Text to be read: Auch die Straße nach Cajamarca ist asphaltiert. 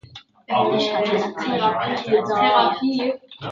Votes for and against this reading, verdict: 0, 2, rejected